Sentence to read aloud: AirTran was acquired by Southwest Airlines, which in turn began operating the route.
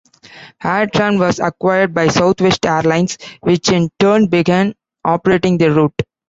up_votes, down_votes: 1, 2